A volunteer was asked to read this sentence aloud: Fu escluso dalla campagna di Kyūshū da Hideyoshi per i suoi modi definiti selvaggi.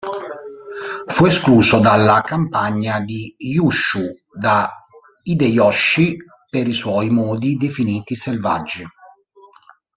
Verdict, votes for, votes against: rejected, 1, 2